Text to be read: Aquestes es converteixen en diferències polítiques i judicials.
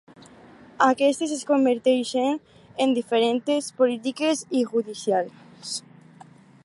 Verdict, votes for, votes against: rejected, 2, 4